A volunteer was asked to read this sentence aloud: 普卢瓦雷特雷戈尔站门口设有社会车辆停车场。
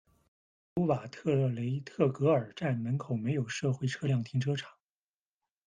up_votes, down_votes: 0, 2